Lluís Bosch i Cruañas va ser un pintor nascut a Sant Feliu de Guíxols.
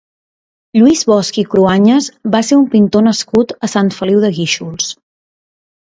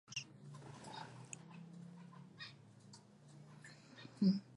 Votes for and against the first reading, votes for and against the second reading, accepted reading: 2, 0, 0, 2, first